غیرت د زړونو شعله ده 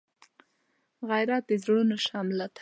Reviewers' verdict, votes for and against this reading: rejected, 1, 3